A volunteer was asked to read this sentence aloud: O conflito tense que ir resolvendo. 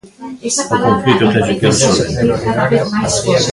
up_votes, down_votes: 0, 2